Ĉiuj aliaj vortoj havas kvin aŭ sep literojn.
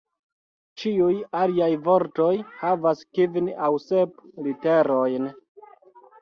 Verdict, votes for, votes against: rejected, 1, 2